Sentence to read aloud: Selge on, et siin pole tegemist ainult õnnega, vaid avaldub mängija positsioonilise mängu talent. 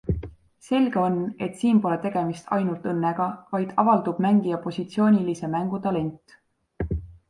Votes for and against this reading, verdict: 2, 0, accepted